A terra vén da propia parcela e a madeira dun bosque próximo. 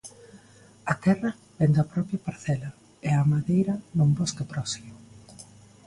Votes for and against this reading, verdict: 2, 0, accepted